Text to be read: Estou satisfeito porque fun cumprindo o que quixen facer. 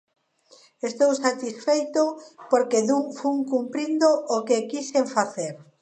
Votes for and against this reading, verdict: 0, 2, rejected